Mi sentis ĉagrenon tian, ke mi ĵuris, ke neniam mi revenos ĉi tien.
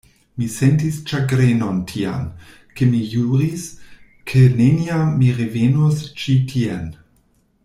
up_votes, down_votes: 1, 2